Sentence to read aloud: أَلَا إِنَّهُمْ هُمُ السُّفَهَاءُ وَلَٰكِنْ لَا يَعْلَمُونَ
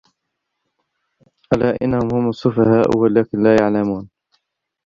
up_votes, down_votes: 0, 2